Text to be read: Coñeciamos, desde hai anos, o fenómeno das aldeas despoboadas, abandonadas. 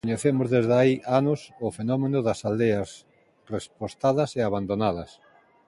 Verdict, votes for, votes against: rejected, 0, 2